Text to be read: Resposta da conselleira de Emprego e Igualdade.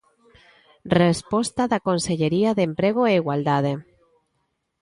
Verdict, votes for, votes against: rejected, 0, 3